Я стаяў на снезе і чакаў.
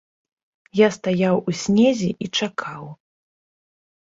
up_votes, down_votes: 0, 2